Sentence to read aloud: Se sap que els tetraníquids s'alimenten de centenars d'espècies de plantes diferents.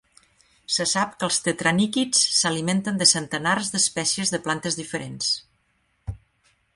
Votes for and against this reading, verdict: 3, 1, accepted